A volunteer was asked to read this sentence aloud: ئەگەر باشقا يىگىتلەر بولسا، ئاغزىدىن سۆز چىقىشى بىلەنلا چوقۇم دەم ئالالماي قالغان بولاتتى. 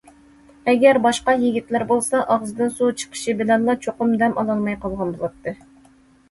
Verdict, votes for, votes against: accepted, 2, 0